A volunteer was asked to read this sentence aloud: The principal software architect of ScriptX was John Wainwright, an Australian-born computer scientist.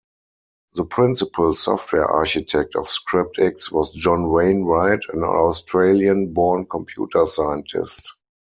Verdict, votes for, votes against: accepted, 4, 0